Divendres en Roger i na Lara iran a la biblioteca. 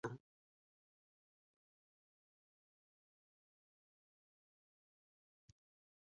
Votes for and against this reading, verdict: 0, 6, rejected